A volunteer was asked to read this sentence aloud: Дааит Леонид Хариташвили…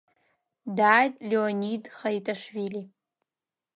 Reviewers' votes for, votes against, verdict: 0, 2, rejected